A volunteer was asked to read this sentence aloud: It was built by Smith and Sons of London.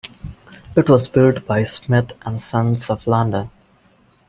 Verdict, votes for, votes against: accepted, 2, 1